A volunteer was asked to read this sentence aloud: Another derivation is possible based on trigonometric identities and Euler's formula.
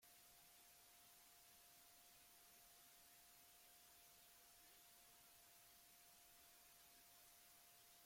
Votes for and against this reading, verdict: 0, 2, rejected